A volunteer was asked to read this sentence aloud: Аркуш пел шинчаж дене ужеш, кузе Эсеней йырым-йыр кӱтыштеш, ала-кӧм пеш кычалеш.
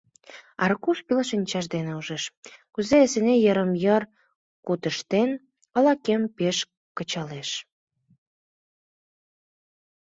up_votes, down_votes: 1, 2